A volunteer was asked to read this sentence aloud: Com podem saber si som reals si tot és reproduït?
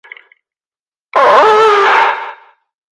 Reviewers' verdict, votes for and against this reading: rejected, 0, 2